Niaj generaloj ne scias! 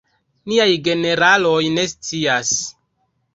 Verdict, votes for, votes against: rejected, 1, 2